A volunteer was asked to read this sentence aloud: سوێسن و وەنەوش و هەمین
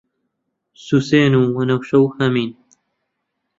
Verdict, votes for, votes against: rejected, 2, 3